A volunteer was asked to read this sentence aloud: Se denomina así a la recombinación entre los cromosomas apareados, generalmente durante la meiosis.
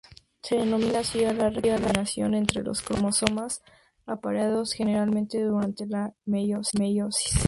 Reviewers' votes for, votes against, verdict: 0, 2, rejected